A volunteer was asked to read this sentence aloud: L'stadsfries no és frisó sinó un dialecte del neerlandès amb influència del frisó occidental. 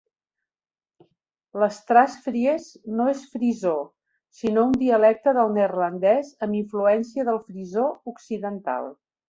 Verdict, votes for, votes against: rejected, 0, 2